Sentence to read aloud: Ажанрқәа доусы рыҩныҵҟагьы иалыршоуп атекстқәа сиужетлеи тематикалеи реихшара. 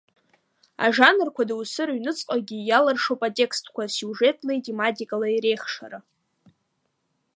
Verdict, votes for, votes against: accepted, 2, 0